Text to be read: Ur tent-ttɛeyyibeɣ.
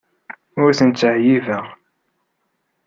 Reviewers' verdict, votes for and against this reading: accepted, 2, 0